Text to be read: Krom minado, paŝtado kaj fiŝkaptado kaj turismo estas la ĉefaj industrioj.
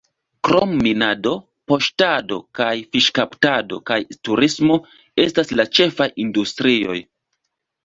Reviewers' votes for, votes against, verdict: 2, 0, accepted